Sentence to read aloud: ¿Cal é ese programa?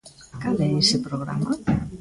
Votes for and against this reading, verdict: 2, 1, accepted